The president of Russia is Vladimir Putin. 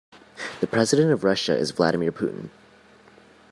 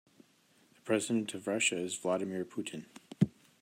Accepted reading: first